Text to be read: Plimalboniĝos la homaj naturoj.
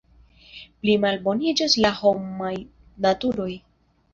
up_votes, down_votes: 1, 2